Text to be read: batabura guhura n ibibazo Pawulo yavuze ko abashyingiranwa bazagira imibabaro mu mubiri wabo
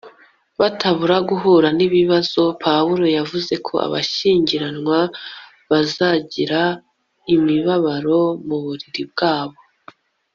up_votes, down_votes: 0, 2